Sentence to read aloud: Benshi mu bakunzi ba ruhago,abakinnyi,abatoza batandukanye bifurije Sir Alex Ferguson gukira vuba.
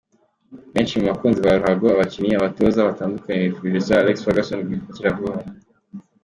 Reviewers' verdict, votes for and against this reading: accepted, 2, 0